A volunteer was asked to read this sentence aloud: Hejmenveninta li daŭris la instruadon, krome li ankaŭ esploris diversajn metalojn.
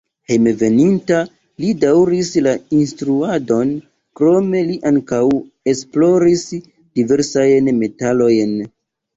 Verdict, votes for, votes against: rejected, 1, 2